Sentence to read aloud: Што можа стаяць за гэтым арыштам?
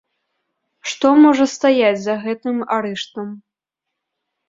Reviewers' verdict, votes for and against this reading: rejected, 1, 2